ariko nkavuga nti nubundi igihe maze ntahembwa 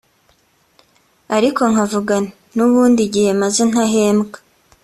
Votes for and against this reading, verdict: 2, 1, accepted